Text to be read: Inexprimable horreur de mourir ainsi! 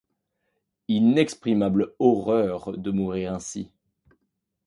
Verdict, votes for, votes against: accepted, 2, 0